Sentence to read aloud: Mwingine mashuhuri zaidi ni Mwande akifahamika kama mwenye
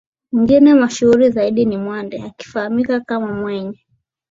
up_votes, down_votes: 2, 0